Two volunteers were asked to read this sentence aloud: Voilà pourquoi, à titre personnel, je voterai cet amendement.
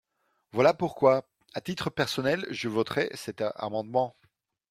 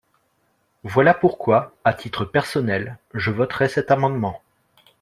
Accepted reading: second